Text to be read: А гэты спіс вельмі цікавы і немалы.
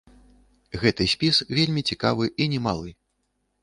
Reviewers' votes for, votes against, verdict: 1, 2, rejected